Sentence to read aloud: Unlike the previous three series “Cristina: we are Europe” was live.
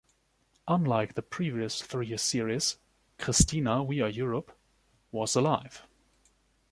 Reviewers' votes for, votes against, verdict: 1, 2, rejected